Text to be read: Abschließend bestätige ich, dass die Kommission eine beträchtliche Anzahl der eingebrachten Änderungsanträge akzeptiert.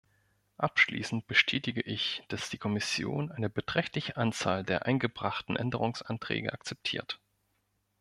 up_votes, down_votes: 0, 2